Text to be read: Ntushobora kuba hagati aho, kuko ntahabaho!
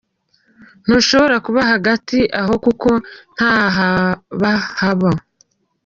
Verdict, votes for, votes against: rejected, 0, 2